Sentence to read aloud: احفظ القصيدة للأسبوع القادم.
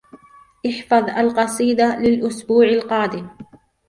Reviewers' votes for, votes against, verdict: 2, 1, accepted